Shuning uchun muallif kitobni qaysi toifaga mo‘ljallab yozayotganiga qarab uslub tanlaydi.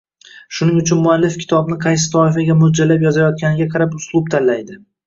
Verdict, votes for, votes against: accepted, 2, 0